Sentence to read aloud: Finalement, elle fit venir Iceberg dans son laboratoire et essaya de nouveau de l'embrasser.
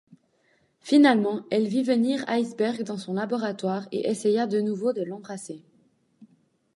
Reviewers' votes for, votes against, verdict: 1, 2, rejected